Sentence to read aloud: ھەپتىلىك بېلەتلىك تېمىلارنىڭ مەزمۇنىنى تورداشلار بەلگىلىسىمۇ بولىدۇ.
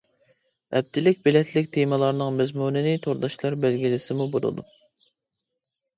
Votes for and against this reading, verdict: 2, 0, accepted